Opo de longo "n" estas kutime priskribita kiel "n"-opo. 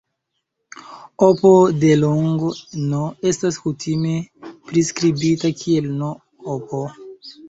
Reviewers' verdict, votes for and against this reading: rejected, 1, 2